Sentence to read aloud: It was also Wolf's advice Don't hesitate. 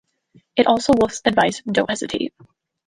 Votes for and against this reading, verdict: 1, 2, rejected